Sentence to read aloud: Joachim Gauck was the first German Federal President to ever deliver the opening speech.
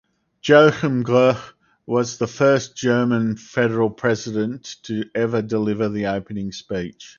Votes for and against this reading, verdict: 0, 2, rejected